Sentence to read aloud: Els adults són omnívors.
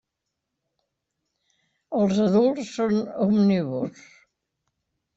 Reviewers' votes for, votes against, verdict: 0, 2, rejected